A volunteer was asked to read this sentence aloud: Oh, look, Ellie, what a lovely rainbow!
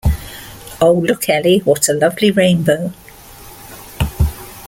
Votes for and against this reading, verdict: 2, 0, accepted